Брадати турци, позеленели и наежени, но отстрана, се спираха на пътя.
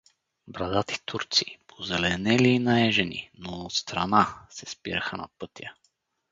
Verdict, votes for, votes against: rejected, 2, 2